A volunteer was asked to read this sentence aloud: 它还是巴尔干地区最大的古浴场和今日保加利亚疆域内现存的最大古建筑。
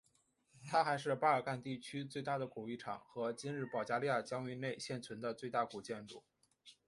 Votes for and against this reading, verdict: 1, 3, rejected